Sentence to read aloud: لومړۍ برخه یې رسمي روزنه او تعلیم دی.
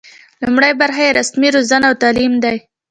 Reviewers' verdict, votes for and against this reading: accepted, 2, 0